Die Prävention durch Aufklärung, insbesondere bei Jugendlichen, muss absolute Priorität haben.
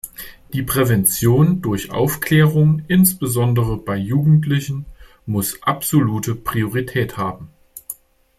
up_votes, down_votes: 2, 0